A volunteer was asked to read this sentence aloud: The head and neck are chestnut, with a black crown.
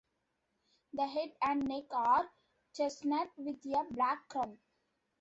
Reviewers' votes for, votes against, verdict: 1, 2, rejected